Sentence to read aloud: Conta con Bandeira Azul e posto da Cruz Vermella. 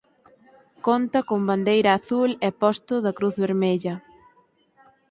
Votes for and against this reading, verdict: 4, 0, accepted